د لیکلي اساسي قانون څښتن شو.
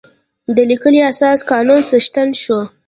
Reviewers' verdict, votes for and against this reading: accepted, 2, 0